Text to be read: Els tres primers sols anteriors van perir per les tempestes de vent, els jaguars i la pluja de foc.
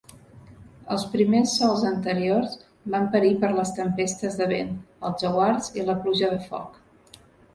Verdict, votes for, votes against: rejected, 1, 2